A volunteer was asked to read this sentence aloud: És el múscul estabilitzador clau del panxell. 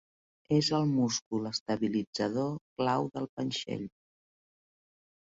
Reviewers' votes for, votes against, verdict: 2, 0, accepted